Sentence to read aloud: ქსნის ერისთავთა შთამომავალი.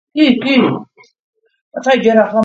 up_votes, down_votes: 0, 2